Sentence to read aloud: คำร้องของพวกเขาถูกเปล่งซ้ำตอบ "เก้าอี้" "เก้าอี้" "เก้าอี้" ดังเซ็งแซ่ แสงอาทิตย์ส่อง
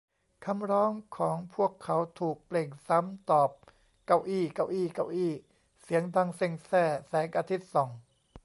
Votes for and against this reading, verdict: 0, 2, rejected